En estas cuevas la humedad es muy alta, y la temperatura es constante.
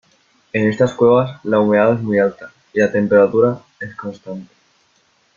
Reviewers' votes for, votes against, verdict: 1, 2, rejected